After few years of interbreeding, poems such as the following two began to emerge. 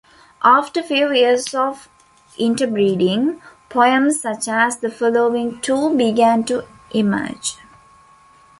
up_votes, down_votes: 2, 0